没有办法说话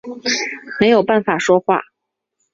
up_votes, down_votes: 2, 0